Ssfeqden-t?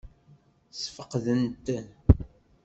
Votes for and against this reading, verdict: 0, 2, rejected